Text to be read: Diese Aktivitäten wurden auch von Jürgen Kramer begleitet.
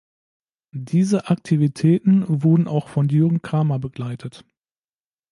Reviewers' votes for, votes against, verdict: 2, 0, accepted